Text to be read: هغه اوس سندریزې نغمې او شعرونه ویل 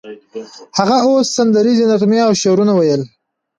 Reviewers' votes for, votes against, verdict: 1, 2, rejected